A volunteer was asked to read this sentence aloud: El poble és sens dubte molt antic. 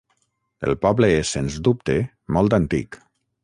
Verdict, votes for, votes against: rejected, 3, 6